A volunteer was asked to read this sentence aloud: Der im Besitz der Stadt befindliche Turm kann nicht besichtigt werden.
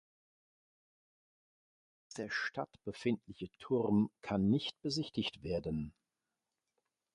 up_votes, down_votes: 0, 2